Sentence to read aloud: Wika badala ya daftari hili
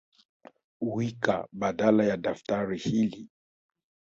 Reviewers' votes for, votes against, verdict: 2, 0, accepted